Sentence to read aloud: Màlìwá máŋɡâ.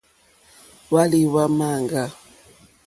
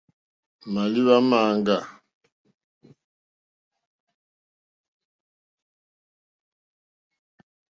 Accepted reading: second